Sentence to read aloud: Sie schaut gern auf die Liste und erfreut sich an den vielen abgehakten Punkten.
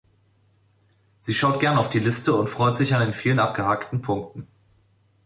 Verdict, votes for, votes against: rejected, 1, 2